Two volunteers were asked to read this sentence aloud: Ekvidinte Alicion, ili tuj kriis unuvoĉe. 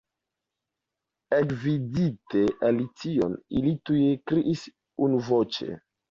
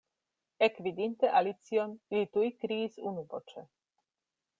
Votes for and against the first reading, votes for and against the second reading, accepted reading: 0, 2, 2, 0, second